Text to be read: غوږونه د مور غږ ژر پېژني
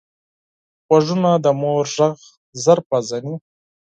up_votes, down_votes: 0, 4